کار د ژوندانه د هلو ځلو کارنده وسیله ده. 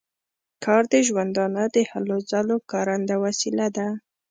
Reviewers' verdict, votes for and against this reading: rejected, 1, 2